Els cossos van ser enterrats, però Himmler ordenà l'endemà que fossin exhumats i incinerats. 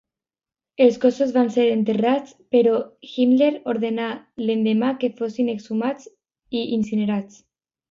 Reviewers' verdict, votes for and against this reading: accepted, 2, 0